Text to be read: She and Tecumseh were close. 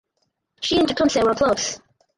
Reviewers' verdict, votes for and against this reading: rejected, 0, 4